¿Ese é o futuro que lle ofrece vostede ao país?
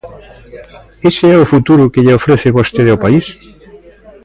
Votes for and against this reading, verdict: 2, 0, accepted